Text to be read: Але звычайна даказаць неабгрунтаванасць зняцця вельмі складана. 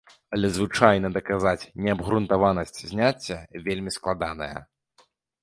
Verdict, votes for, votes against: rejected, 0, 2